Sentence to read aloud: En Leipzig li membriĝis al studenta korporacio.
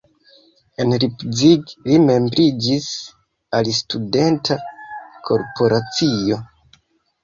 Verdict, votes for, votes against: rejected, 1, 2